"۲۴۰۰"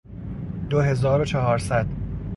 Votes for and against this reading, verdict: 0, 2, rejected